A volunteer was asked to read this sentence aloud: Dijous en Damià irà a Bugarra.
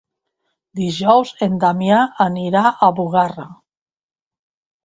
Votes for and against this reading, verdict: 1, 2, rejected